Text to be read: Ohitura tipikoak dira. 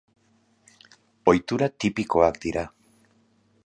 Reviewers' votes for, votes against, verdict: 2, 0, accepted